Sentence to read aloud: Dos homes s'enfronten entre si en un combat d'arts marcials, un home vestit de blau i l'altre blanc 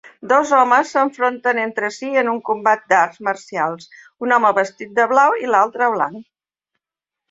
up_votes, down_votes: 3, 0